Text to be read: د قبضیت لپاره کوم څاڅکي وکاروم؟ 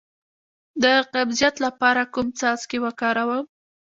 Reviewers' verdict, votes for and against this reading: rejected, 1, 2